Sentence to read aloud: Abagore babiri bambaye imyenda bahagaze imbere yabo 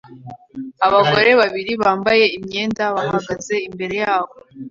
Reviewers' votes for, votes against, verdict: 2, 0, accepted